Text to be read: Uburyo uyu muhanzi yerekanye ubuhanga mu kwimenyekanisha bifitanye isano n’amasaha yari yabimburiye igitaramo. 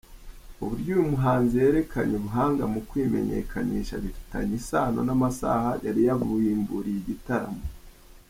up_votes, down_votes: 3, 0